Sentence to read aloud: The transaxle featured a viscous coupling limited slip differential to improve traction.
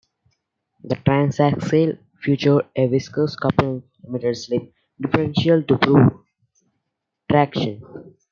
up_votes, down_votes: 0, 2